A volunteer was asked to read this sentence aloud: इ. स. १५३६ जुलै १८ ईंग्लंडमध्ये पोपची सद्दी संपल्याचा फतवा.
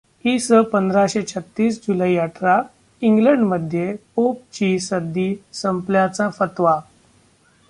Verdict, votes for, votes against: rejected, 0, 2